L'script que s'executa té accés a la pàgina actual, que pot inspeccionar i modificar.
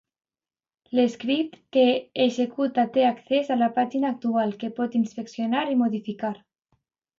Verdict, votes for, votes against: rejected, 1, 2